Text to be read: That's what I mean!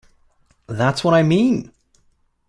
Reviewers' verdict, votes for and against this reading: accepted, 2, 1